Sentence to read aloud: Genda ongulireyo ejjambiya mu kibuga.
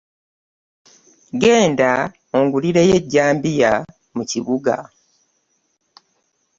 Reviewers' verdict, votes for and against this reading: accepted, 2, 0